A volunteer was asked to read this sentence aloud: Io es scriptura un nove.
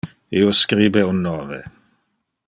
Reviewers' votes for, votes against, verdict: 0, 2, rejected